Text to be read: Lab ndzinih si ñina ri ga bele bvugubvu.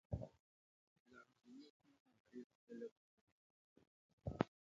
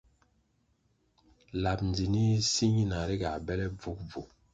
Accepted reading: second